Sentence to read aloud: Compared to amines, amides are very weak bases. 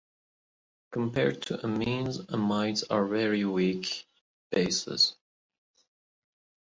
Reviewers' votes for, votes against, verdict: 3, 0, accepted